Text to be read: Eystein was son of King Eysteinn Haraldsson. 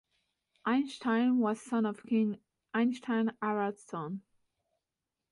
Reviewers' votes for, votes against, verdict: 2, 0, accepted